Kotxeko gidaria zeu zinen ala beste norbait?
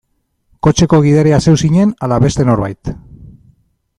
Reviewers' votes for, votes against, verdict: 2, 0, accepted